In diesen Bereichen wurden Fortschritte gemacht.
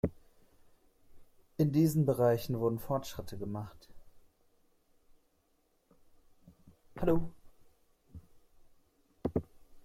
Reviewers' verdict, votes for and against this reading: rejected, 1, 2